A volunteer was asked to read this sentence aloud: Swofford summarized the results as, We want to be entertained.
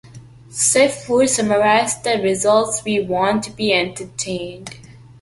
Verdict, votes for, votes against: rejected, 0, 2